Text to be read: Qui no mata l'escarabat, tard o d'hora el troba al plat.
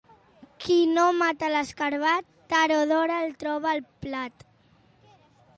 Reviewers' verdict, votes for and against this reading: accepted, 2, 0